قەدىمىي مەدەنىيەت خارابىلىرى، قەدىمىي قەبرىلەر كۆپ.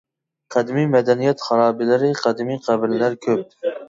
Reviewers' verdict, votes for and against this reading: rejected, 1, 2